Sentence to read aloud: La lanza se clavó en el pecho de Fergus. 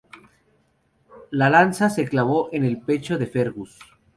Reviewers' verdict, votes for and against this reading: accepted, 4, 2